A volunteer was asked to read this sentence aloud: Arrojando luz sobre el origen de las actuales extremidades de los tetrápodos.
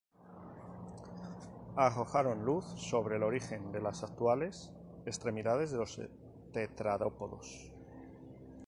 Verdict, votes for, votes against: rejected, 0, 2